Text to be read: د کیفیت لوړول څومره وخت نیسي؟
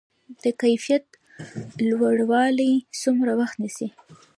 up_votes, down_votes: 0, 2